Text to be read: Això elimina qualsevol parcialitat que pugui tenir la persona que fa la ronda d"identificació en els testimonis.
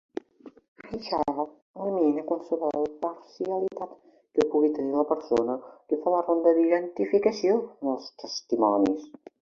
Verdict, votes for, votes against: rejected, 0, 2